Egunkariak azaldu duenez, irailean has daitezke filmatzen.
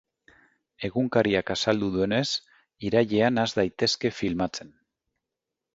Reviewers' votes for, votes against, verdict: 2, 0, accepted